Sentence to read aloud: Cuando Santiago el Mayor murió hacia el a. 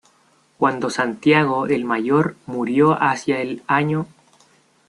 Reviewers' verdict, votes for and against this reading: rejected, 1, 2